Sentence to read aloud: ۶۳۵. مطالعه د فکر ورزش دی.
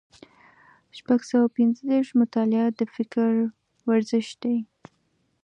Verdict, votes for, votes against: rejected, 0, 2